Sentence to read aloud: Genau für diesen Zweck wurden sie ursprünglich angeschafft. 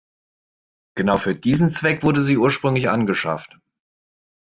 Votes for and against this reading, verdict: 0, 2, rejected